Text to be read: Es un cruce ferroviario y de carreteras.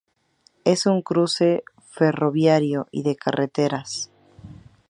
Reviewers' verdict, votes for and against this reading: rejected, 0, 2